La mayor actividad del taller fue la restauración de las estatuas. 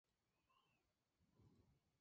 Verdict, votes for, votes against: rejected, 0, 6